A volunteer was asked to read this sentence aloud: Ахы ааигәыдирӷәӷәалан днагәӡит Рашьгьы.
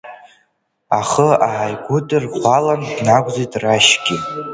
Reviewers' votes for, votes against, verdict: 2, 1, accepted